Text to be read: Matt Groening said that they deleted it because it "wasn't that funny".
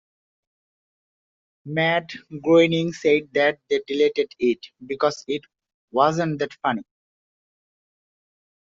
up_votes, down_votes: 2, 0